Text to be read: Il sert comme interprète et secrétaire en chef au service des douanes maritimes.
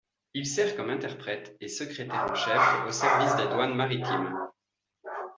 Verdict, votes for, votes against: accepted, 2, 0